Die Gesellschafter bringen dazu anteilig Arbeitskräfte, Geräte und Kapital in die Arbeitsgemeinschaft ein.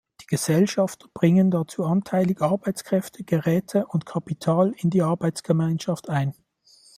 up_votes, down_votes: 1, 2